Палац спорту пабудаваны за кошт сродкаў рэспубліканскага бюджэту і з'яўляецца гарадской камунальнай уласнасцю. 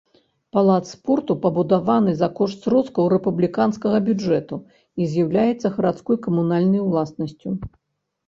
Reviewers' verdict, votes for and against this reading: rejected, 1, 2